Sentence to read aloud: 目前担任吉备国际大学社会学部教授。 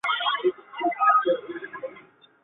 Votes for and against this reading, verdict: 0, 2, rejected